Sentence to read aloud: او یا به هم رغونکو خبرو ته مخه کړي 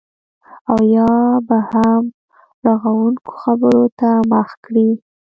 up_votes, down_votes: 2, 1